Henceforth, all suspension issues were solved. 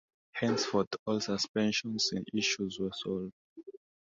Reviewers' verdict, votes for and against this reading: accepted, 2, 1